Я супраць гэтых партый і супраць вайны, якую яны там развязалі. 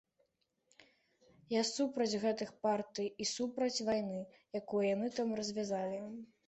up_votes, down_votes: 2, 0